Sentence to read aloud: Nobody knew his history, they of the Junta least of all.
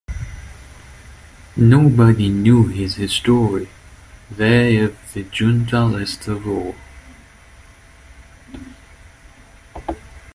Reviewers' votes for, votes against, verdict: 2, 0, accepted